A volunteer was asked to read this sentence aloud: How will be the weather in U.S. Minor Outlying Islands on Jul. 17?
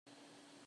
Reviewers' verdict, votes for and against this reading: rejected, 0, 2